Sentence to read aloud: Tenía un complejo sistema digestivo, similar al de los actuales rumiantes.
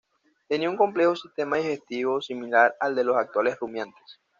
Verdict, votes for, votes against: accepted, 2, 0